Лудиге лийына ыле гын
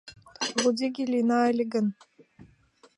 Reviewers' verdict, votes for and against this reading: accepted, 2, 0